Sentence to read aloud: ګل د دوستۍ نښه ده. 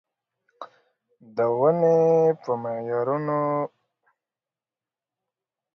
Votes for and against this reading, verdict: 0, 2, rejected